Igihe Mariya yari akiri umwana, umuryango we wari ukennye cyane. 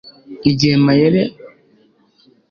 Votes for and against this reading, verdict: 0, 2, rejected